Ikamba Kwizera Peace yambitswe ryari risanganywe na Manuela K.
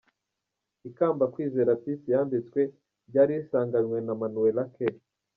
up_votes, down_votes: 1, 2